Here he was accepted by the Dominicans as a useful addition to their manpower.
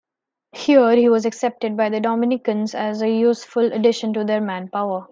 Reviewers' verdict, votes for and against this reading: accepted, 2, 0